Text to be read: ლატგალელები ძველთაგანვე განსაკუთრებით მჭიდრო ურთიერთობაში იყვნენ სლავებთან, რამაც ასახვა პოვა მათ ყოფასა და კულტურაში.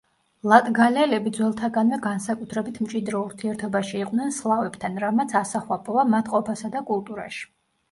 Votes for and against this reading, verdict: 2, 0, accepted